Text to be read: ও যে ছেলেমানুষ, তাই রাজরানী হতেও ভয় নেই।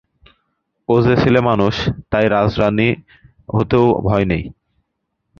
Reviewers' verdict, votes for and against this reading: rejected, 0, 2